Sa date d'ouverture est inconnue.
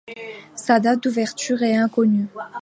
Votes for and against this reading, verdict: 2, 0, accepted